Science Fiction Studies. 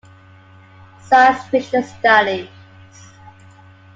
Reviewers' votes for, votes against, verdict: 1, 2, rejected